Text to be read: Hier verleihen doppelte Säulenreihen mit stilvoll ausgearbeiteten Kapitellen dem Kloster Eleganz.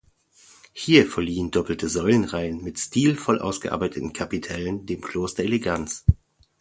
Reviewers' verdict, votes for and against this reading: rejected, 0, 2